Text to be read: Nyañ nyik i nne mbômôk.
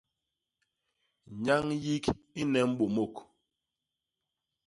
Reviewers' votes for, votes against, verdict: 0, 2, rejected